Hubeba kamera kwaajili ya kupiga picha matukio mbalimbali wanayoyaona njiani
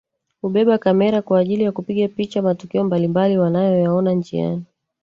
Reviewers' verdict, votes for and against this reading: rejected, 1, 2